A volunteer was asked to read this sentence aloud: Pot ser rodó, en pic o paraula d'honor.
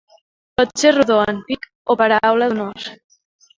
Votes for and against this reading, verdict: 0, 2, rejected